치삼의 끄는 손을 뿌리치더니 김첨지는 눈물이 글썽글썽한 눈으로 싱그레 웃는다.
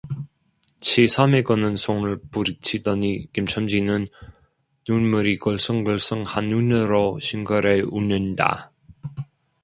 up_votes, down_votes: 2, 1